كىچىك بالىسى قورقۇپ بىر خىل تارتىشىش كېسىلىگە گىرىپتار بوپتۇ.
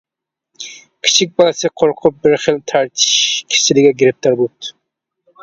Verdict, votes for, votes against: rejected, 1, 2